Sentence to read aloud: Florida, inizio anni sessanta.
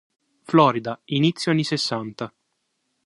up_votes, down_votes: 3, 0